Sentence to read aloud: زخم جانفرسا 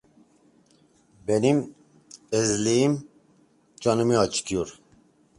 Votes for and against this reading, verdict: 0, 2, rejected